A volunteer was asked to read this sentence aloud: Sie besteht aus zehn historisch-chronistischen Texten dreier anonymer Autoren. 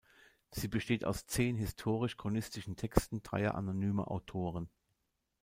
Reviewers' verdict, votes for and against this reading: accepted, 2, 0